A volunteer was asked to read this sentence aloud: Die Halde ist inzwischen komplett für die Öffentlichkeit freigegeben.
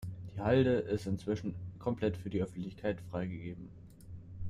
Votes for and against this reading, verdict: 2, 0, accepted